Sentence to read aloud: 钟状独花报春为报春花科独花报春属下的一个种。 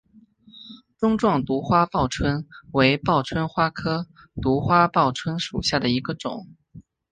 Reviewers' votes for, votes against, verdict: 7, 0, accepted